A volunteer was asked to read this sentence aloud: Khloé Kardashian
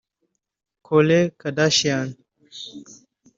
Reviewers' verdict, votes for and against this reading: rejected, 0, 2